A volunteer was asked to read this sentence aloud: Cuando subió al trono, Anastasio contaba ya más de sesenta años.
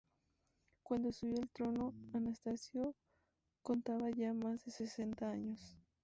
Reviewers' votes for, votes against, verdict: 0, 2, rejected